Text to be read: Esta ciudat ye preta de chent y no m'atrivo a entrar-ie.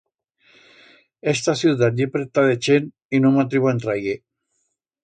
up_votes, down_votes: 2, 0